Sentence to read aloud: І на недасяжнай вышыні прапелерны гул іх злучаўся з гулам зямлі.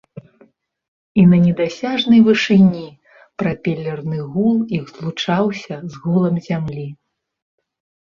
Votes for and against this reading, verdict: 2, 0, accepted